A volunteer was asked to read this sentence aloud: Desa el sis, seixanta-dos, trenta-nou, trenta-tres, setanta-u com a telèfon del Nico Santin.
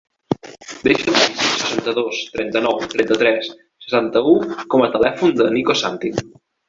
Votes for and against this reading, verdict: 0, 2, rejected